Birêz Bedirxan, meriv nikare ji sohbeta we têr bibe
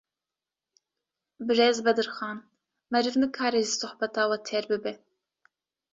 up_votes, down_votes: 2, 0